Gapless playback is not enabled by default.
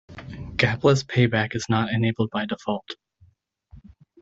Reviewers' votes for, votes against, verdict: 1, 2, rejected